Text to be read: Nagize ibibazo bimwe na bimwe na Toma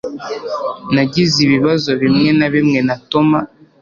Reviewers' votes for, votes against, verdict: 2, 0, accepted